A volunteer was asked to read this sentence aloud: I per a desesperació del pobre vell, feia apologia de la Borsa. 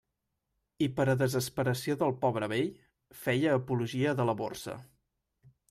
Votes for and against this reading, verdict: 2, 0, accepted